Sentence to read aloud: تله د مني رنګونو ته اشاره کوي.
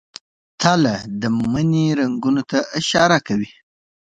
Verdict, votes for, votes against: accepted, 2, 1